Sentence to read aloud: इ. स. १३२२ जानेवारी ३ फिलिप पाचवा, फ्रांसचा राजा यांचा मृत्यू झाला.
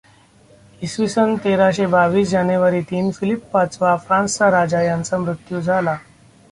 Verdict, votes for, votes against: rejected, 0, 2